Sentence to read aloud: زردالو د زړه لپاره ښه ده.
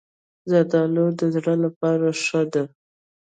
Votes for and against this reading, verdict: 2, 1, accepted